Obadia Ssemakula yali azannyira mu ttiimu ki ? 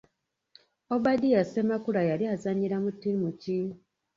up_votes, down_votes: 2, 1